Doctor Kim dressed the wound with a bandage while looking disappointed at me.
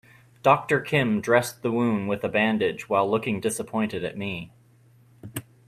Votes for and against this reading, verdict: 2, 0, accepted